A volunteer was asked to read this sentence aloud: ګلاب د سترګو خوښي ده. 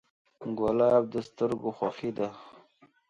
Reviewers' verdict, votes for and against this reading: accepted, 2, 0